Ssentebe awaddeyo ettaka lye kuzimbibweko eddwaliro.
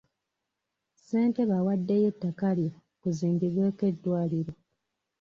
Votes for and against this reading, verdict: 2, 0, accepted